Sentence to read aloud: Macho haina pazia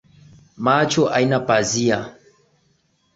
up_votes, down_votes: 11, 1